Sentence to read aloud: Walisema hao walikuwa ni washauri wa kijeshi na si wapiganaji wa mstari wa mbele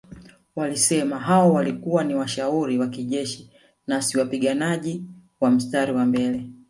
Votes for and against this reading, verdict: 2, 0, accepted